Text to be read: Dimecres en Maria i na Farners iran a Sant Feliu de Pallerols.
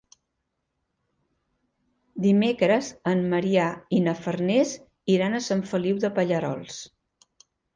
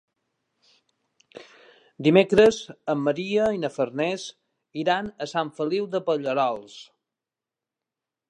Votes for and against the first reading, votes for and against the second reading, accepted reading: 1, 2, 2, 0, second